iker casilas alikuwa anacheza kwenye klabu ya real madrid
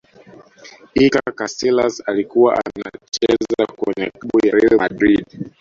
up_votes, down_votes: 0, 2